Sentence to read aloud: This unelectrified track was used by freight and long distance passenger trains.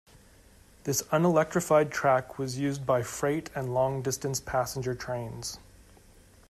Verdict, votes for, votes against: accepted, 2, 0